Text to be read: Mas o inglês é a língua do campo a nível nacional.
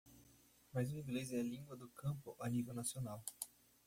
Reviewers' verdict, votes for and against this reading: rejected, 1, 2